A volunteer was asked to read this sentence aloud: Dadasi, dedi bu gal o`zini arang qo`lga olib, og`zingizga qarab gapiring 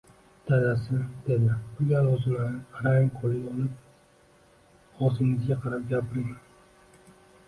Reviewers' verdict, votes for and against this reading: rejected, 1, 2